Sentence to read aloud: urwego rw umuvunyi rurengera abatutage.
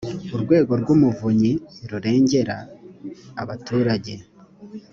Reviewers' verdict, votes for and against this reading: rejected, 1, 2